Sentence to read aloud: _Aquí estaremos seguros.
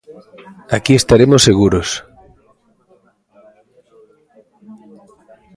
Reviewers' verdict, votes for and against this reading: accepted, 2, 0